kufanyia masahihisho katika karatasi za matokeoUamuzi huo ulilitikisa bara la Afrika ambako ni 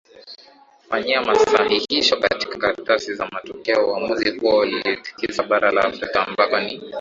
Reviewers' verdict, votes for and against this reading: rejected, 0, 2